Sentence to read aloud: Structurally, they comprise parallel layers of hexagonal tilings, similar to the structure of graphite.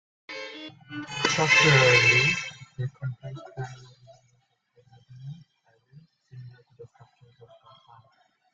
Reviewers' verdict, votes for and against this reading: rejected, 0, 2